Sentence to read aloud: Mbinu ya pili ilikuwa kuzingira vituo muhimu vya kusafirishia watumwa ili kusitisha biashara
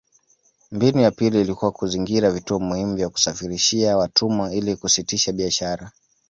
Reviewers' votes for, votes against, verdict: 2, 0, accepted